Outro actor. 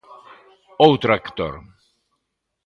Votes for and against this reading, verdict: 1, 2, rejected